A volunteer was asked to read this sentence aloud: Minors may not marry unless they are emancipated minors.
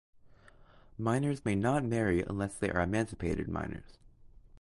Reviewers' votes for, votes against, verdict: 2, 0, accepted